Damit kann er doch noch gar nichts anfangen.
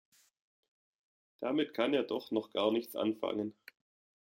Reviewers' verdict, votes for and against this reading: accepted, 2, 0